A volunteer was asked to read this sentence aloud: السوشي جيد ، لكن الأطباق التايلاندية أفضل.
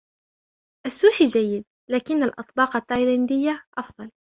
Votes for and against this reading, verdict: 2, 0, accepted